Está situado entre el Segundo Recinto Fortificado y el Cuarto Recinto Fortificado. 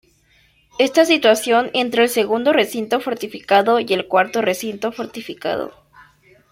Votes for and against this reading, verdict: 1, 2, rejected